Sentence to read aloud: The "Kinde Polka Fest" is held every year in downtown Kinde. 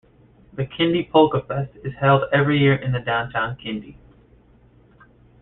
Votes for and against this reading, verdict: 0, 2, rejected